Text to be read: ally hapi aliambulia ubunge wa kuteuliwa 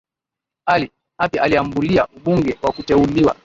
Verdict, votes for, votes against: accepted, 2, 1